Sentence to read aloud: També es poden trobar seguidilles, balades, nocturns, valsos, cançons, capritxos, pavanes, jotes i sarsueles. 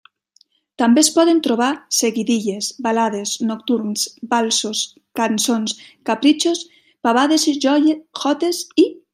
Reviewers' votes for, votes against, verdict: 0, 2, rejected